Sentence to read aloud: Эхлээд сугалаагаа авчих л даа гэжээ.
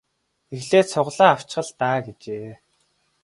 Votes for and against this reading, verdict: 1, 2, rejected